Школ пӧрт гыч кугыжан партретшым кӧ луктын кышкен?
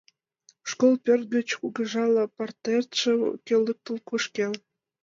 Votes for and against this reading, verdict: 0, 2, rejected